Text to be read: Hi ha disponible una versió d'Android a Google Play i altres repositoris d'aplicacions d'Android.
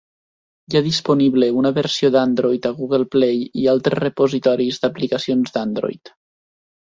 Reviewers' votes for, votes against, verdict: 2, 0, accepted